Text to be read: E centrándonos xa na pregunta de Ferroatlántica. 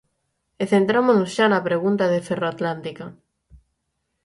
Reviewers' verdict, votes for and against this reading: rejected, 3, 6